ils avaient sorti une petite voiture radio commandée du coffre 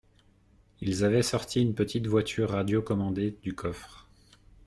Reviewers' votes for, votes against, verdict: 2, 0, accepted